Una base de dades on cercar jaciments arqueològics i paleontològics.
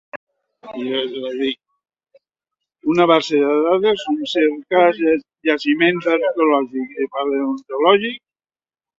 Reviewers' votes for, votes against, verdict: 0, 2, rejected